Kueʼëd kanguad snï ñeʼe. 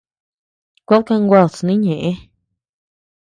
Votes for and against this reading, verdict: 2, 0, accepted